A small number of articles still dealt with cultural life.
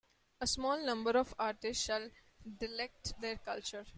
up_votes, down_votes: 0, 2